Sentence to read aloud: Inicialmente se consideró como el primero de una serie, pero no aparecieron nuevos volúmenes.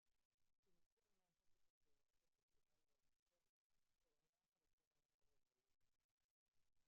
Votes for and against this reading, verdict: 0, 2, rejected